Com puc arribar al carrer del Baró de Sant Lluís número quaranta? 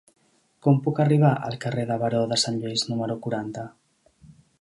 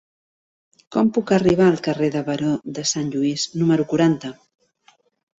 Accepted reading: second